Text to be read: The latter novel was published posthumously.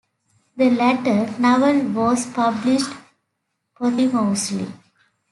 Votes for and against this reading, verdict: 2, 1, accepted